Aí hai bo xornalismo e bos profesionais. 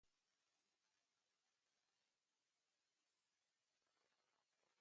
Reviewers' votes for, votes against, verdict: 0, 2, rejected